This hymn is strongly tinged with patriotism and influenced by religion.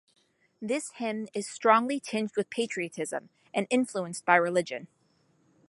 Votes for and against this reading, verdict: 2, 0, accepted